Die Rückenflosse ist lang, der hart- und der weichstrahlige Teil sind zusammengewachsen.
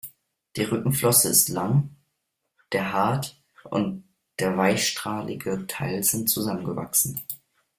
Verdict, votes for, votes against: rejected, 1, 2